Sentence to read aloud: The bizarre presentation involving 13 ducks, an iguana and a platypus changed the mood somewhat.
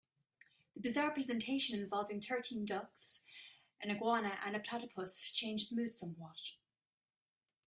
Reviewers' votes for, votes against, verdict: 0, 2, rejected